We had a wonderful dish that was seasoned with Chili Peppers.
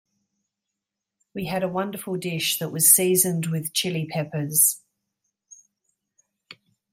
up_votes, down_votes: 2, 0